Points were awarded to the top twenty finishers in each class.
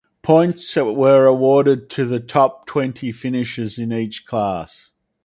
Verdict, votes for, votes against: accepted, 4, 0